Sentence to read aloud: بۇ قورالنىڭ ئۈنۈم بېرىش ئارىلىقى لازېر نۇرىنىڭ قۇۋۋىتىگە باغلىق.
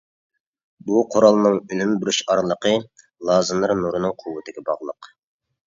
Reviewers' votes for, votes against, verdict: 1, 2, rejected